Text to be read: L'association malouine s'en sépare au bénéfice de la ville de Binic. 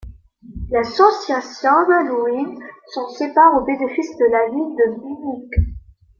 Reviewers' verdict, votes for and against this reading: accepted, 2, 1